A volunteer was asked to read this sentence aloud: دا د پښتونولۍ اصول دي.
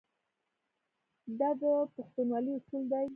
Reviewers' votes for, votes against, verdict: 2, 0, accepted